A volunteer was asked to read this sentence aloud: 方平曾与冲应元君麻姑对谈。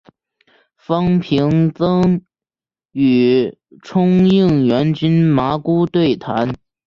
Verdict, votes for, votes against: rejected, 1, 3